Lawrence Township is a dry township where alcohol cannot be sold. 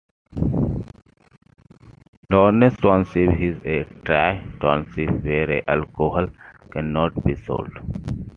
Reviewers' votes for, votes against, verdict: 2, 1, accepted